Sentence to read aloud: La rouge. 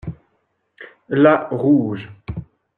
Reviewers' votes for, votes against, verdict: 2, 0, accepted